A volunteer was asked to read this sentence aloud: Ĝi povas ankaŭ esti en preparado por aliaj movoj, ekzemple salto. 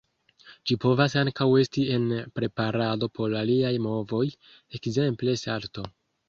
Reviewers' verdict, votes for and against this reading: accepted, 2, 0